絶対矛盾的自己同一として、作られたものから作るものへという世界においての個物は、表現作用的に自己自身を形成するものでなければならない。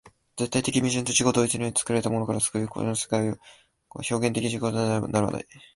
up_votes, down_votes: 0, 2